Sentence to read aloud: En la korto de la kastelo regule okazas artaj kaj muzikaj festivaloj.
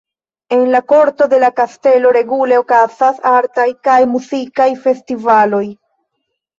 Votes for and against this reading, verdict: 2, 0, accepted